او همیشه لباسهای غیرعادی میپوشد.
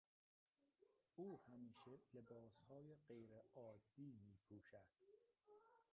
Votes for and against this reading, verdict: 0, 2, rejected